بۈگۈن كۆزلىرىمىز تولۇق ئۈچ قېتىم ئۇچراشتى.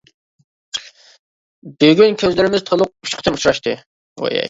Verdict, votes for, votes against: rejected, 1, 2